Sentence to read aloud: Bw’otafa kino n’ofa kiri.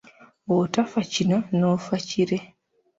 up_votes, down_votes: 2, 0